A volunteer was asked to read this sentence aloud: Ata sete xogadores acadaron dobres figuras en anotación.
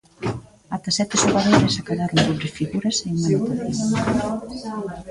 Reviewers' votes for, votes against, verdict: 0, 2, rejected